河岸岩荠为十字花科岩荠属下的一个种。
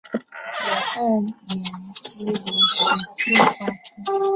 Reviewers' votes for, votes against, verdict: 0, 2, rejected